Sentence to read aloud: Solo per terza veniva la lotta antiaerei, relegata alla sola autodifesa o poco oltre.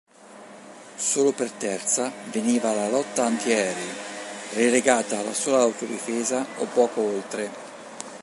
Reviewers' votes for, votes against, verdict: 4, 0, accepted